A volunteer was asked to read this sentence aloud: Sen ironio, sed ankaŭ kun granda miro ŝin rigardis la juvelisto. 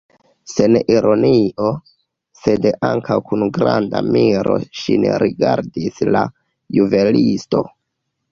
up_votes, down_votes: 0, 2